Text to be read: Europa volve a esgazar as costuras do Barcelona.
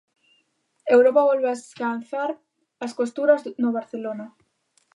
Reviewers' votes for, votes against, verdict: 0, 2, rejected